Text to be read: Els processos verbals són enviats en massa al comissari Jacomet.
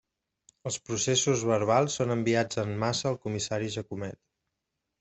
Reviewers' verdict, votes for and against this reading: accepted, 2, 0